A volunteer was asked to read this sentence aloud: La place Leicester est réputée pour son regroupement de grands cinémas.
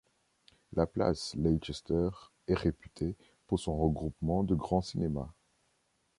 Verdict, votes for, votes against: accepted, 2, 0